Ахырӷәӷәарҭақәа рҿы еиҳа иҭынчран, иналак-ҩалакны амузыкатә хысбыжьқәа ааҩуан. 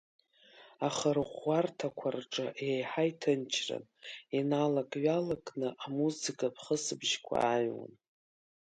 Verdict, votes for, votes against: accepted, 3, 0